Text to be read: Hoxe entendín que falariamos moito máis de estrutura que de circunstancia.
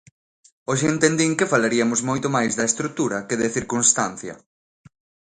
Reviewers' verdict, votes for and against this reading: rejected, 0, 2